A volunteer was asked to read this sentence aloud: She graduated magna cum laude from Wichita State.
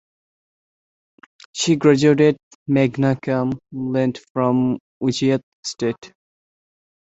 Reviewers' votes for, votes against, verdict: 0, 2, rejected